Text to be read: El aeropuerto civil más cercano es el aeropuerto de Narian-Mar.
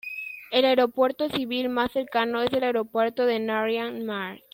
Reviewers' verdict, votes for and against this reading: accepted, 2, 0